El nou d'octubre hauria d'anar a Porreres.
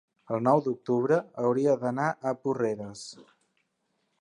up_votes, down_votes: 3, 0